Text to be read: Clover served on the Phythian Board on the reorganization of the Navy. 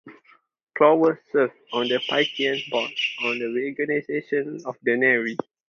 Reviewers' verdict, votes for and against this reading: accepted, 2, 0